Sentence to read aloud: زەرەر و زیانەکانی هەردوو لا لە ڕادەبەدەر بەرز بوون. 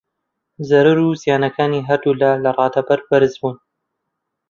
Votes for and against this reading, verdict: 0, 2, rejected